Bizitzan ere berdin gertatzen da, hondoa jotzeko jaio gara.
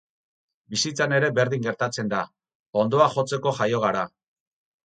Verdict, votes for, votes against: accepted, 4, 0